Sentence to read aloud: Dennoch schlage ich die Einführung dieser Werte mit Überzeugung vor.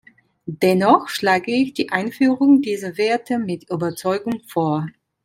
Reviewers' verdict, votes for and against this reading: accepted, 2, 1